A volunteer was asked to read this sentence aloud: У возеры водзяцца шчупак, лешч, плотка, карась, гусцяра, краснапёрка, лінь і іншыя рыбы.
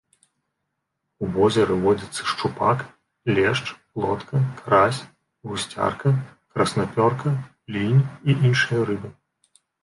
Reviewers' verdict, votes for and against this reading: rejected, 1, 2